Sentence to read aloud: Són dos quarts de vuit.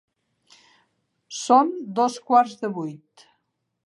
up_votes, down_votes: 3, 0